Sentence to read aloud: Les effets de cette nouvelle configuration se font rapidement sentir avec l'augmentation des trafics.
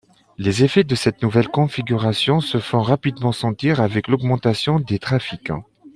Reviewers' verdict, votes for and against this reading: accepted, 2, 1